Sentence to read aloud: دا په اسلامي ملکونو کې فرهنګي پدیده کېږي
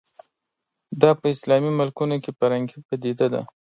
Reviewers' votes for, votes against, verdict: 1, 2, rejected